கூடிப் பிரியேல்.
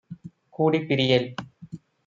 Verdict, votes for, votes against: accepted, 2, 0